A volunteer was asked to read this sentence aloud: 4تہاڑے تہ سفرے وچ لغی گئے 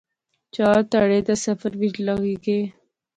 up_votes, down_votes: 0, 2